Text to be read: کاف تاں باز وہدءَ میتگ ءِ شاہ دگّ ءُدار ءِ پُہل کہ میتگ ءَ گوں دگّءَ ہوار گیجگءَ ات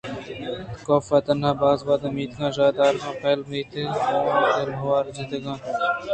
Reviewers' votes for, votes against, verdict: 0, 2, rejected